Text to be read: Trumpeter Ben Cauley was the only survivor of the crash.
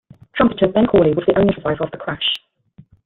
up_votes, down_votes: 1, 2